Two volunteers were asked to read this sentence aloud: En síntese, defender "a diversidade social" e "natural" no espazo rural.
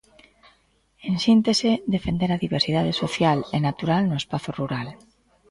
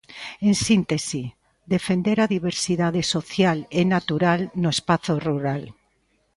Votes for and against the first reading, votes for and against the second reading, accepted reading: 1, 2, 2, 1, second